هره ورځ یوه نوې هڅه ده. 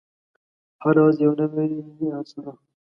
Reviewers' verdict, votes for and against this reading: rejected, 3, 4